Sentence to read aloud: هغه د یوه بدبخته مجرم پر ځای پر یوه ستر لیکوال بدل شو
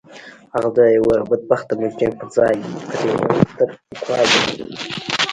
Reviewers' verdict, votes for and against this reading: rejected, 0, 2